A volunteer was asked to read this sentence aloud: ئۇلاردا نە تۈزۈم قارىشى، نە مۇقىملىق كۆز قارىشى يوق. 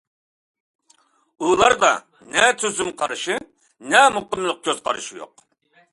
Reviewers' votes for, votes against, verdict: 2, 0, accepted